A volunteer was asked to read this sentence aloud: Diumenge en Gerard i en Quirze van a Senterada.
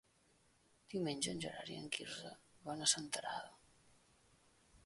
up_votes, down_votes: 1, 2